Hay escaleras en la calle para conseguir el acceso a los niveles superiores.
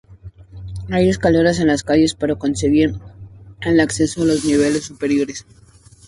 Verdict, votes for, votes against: accepted, 4, 0